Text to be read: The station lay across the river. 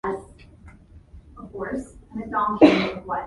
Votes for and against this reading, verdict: 0, 2, rejected